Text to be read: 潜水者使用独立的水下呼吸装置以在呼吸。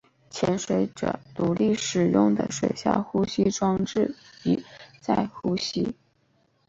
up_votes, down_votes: 3, 0